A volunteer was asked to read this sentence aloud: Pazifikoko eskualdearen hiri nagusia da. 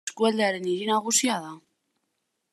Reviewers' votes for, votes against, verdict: 0, 2, rejected